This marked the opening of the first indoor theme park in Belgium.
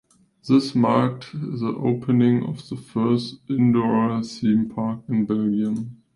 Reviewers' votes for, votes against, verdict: 2, 0, accepted